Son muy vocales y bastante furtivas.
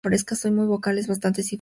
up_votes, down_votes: 0, 2